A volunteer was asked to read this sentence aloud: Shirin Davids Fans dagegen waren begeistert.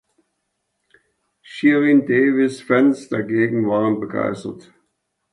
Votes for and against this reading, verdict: 1, 2, rejected